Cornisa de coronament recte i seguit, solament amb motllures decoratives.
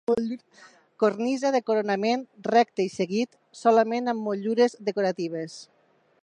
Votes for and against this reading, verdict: 1, 2, rejected